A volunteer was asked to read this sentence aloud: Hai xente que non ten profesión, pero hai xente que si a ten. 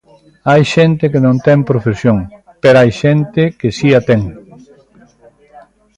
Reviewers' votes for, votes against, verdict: 1, 2, rejected